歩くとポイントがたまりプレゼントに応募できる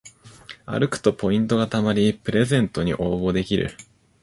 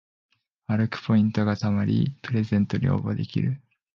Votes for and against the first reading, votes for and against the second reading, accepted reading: 2, 0, 0, 2, first